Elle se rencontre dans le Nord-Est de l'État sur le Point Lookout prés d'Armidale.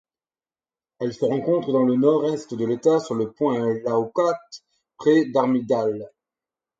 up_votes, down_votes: 2, 4